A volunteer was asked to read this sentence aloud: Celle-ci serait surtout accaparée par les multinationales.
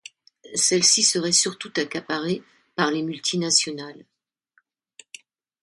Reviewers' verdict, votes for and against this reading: accepted, 2, 0